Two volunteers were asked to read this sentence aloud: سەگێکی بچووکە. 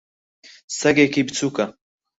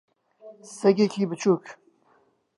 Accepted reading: first